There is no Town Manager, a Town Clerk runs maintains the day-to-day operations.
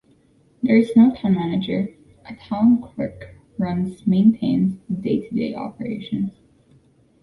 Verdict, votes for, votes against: accepted, 2, 1